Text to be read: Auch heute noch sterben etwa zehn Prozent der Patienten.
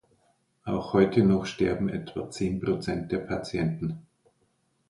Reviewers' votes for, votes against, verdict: 2, 0, accepted